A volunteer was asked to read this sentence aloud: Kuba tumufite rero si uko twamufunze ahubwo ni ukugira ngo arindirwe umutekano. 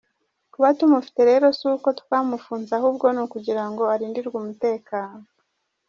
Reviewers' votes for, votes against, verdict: 1, 2, rejected